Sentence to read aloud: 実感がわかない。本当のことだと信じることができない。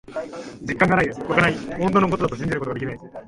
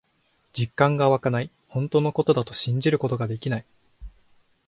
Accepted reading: second